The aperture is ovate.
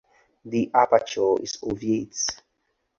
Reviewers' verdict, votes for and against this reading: accepted, 4, 0